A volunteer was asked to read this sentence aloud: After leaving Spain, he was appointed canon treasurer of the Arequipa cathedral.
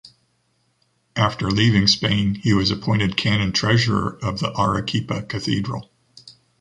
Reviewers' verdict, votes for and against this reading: accepted, 2, 0